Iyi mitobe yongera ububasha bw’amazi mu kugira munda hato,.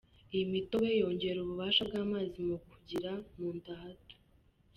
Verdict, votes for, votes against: rejected, 1, 2